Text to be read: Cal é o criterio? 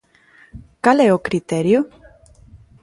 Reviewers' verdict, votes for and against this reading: accepted, 2, 0